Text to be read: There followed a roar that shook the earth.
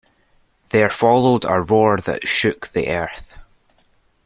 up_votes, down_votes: 2, 0